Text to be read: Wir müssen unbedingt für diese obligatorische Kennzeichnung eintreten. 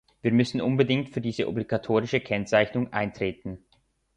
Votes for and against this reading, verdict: 2, 0, accepted